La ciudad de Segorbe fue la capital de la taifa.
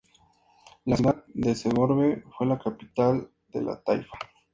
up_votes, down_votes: 2, 0